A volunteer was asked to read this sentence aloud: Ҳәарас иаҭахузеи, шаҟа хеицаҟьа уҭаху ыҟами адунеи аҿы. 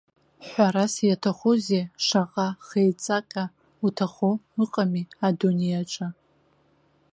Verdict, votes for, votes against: rejected, 1, 2